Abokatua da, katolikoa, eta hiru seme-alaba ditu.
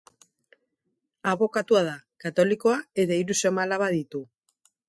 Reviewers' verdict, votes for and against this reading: accepted, 4, 0